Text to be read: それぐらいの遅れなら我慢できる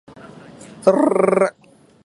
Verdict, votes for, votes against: rejected, 1, 2